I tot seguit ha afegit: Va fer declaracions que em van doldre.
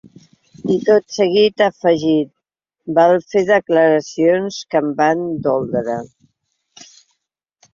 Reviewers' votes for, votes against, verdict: 2, 1, accepted